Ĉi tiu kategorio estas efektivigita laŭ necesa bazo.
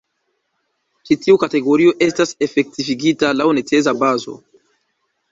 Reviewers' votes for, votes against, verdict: 2, 0, accepted